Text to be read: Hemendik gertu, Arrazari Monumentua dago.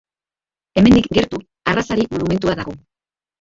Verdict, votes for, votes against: accepted, 2, 1